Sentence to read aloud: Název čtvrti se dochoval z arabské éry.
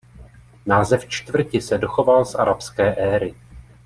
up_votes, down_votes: 0, 2